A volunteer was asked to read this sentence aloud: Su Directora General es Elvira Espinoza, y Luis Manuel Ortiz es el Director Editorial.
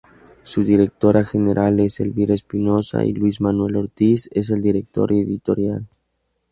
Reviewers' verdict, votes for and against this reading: accepted, 2, 0